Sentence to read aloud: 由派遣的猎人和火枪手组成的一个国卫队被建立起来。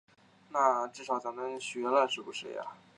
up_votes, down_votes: 1, 2